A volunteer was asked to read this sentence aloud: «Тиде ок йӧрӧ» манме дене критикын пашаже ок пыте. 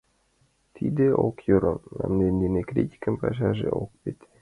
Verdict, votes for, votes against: rejected, 0, 2